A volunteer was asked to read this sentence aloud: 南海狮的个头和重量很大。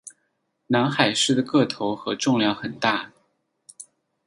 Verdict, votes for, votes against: accepted, 10, 0